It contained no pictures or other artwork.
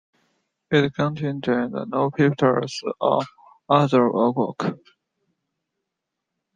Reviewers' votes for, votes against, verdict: 2, 0, accepted